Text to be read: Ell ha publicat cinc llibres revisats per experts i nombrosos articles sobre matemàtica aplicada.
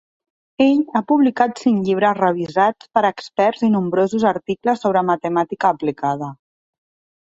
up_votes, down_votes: 2, 0